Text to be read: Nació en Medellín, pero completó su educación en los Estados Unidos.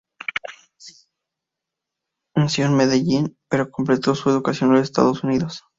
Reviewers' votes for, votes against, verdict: 0, 4, rejected